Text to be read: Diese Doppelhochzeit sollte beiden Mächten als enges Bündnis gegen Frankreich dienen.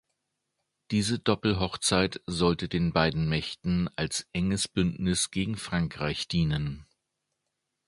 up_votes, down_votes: 1, 2